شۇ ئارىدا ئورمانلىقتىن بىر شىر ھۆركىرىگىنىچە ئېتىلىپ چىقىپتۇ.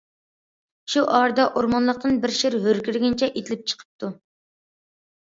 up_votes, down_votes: 2, 0